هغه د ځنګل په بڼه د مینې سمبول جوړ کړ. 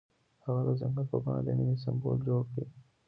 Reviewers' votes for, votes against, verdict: 1, 2, rejected